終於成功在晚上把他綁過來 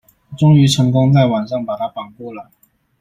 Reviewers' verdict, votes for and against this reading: accepted, 2, 0